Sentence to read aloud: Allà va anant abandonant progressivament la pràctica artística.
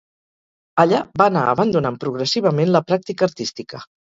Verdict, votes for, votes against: rejected, 2, 2